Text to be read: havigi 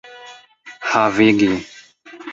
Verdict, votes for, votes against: rejected, 1, 2